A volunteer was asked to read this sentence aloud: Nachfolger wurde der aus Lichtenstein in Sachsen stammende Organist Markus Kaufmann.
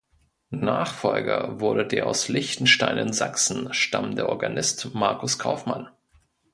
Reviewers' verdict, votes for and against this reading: accepted, 2, 0